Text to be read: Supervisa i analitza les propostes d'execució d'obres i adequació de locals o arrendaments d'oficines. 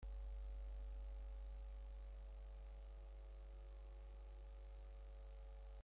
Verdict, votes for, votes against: rejected, 0, 2